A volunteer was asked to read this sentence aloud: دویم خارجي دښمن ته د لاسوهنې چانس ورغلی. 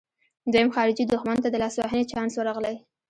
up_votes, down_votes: 1, 2